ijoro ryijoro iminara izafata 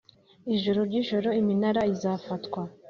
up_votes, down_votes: 2, 0